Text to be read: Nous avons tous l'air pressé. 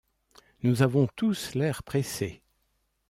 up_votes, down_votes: 2, 0